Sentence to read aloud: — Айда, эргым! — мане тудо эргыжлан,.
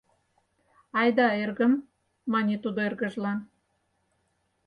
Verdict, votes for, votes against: accepted, 4, 0